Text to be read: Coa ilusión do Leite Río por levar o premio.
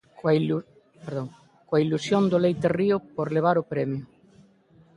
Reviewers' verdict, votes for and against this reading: rejected, 0, 2